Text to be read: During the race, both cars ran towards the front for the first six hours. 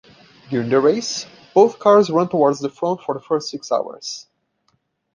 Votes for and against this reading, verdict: 1, 2, rejected